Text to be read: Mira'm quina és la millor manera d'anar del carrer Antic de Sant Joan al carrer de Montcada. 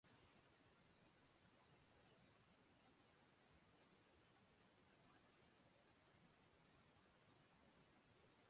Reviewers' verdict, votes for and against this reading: rejected, 1, 4